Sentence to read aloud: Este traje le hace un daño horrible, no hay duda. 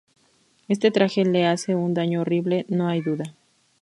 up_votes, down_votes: 2, 0